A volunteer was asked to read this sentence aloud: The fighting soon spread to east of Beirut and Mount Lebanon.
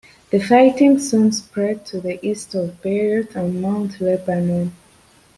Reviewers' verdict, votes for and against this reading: rejected, 1, 2